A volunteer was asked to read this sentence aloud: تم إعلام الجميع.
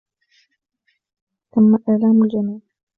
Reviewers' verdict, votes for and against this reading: rejected, 1, 2